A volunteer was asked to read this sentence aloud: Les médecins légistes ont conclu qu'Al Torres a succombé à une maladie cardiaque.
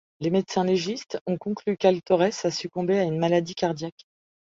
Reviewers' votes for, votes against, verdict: 2, 0, accepted